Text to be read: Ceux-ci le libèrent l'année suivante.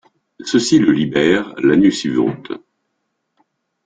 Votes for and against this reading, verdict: 2, 0, accepted